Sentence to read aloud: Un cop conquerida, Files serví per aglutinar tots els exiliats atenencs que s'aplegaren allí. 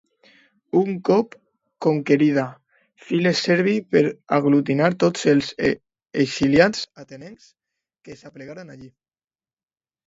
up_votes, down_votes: 0, 2